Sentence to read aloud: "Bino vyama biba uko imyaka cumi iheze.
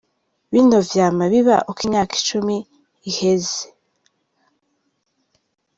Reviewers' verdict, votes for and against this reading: rejected, 1, 2